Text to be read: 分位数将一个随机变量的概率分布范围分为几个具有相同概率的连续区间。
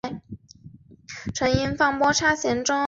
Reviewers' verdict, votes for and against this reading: rejected, 3, 4